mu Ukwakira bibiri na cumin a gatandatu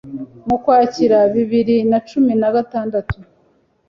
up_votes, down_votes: 2, 0